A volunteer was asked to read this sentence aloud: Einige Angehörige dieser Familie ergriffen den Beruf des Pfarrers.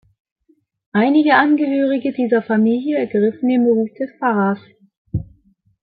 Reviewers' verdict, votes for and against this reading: accepted, 2, 0